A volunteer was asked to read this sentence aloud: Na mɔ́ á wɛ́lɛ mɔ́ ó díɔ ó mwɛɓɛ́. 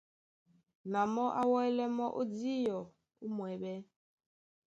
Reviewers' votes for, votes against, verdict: 2, 0, accepted